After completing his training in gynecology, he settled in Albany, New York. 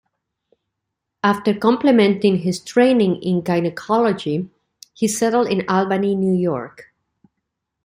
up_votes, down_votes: 0, 2